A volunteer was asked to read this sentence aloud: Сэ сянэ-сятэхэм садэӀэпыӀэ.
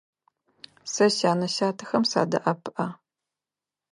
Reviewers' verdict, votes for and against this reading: accepted, 2, 0